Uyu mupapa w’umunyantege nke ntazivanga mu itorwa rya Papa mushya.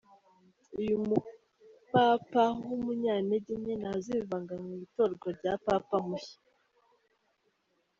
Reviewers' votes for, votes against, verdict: 2, 0, accepted